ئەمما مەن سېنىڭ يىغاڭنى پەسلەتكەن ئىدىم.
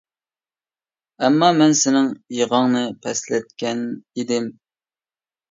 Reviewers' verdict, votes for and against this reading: accepted, 2, 0